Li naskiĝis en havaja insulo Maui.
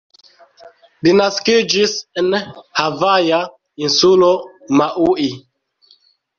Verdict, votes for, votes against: rejected, 0, 2